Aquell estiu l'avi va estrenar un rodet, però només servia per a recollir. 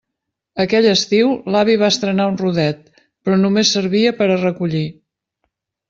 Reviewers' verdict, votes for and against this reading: accepted, 3, 0